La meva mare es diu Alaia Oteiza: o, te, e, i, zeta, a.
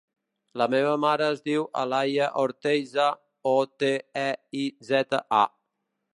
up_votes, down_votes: 1, 2